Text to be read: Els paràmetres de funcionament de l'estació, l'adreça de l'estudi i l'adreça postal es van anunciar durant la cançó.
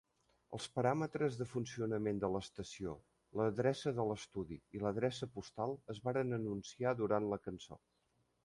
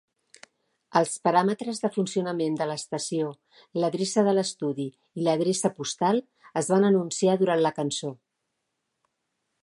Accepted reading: second